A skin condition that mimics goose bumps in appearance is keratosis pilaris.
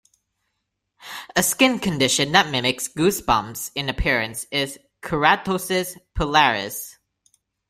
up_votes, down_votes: 2, 1